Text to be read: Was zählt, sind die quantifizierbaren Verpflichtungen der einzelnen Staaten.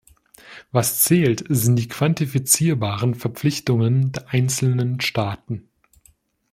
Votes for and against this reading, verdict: 2, 0, accepted